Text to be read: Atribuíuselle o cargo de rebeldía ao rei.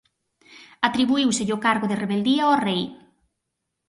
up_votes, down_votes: 4, 0